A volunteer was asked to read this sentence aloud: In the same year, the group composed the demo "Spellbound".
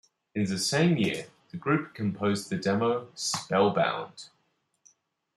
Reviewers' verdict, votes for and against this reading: accepted, 2, 0